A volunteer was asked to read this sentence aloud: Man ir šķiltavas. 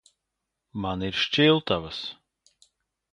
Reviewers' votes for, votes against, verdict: 3, 0, accepted